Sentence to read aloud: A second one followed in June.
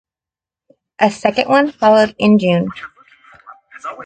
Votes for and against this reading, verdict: 2, 1, accepted